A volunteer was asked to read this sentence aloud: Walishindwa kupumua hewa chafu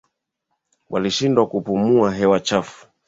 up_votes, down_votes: 2, 1